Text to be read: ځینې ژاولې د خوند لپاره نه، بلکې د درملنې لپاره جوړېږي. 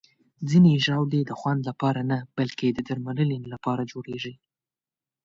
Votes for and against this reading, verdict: 2, 0, accepted